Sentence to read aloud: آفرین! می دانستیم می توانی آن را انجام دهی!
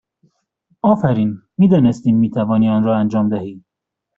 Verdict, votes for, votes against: accepted, 2, 0